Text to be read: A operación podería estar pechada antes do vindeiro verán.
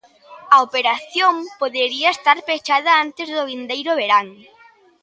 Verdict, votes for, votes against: accepted, 2, 0